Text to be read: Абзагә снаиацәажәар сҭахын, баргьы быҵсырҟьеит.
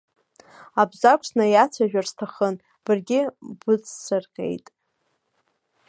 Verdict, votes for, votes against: rejected, 0, 2